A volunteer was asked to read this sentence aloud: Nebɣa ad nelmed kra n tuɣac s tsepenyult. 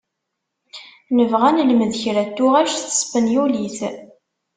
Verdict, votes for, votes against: rejected, 1, 2